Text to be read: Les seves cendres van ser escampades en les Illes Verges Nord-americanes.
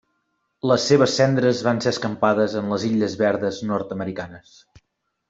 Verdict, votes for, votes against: rejected, 0, 2